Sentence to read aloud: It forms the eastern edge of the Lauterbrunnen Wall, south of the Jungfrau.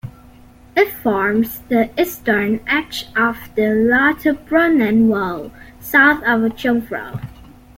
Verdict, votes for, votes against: rejected, 1, 2